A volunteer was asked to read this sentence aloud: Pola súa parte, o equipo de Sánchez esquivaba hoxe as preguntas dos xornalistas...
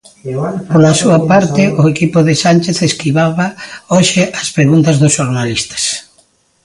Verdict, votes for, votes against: rejected, 0, 2